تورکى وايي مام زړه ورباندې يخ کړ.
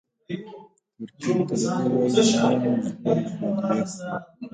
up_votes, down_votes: 0, 2